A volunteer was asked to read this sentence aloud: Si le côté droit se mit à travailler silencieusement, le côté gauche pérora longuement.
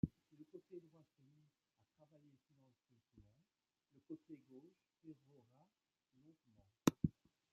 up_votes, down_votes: 1, 2